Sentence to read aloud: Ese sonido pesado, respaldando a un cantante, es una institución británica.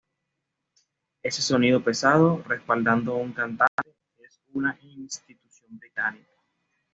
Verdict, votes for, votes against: accepted, 2, 0